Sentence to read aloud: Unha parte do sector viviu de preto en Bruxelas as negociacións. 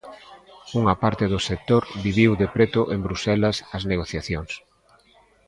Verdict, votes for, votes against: accepted, 2, 0